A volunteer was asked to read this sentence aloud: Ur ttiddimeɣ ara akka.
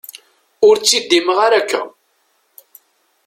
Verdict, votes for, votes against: accepted, 2, 0